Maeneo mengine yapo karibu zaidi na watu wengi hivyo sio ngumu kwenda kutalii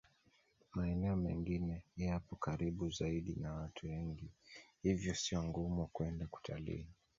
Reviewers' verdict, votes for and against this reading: rejected, 0, 2